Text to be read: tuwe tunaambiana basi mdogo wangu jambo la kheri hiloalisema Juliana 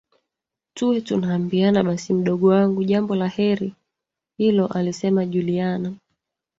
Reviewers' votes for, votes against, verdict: 0, 2, rejected